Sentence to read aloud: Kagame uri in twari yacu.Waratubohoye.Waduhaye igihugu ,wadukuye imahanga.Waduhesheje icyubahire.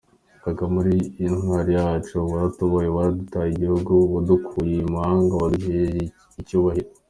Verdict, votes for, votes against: rejected, 0, 2